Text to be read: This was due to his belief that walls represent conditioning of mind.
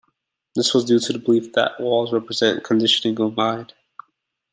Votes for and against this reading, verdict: 2, 0, accepted